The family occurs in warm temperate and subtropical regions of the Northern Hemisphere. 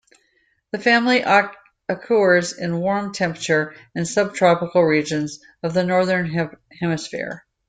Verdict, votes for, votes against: rejected, 1, 2